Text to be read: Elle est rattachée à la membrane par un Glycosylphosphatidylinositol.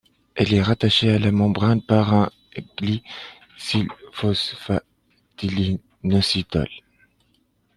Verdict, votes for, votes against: rejected, 1, 2